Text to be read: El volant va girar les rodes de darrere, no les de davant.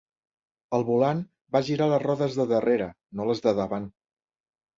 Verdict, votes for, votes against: accepted, 3, 1